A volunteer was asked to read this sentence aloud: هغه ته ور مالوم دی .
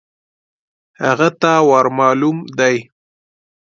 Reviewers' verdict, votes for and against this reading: accepted, 2, 0